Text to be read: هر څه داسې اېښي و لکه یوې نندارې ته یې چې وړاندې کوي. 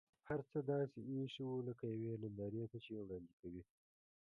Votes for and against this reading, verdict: 0, 2, rejected